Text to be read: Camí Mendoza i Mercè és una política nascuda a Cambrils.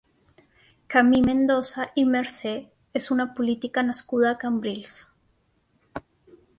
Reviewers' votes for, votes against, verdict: 6, 1, accepted